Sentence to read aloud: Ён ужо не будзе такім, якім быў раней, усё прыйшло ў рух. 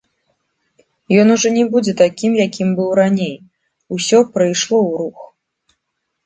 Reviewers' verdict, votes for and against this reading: accepted, 2, 0